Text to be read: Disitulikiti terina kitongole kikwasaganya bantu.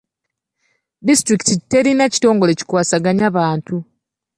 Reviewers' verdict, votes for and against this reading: accepted, 2, 0